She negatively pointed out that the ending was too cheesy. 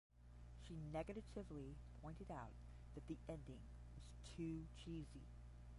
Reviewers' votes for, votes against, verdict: 0, 10, rejected